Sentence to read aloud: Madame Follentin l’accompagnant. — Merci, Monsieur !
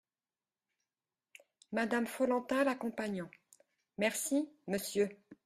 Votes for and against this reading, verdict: 2, 0, accepted